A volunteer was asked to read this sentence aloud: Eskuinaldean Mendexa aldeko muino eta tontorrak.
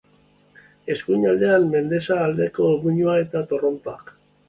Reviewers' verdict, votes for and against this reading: rejected, 1, 2